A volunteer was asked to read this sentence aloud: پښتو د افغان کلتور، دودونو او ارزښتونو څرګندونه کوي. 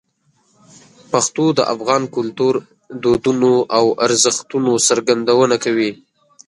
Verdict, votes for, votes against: accepted, 2, 0